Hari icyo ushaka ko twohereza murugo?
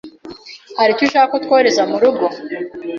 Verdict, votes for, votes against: accepted, 2, 0